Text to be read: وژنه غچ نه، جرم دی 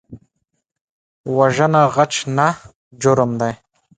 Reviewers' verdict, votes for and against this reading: accepted, 2, 0